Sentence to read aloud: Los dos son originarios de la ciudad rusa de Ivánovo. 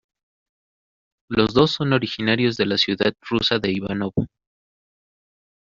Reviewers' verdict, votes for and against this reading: rejected, 1, 2